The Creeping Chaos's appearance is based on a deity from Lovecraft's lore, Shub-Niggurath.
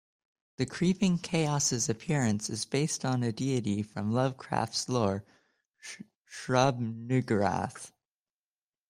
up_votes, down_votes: 0, 2